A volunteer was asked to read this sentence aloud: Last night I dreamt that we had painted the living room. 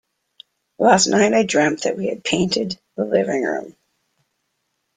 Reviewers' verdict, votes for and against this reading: accepted, 2, 0